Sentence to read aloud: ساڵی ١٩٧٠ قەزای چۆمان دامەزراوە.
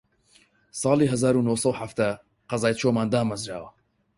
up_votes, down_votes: 0, 2